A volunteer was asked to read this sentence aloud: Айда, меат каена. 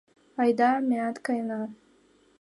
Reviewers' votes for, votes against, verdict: 2, 0, accepted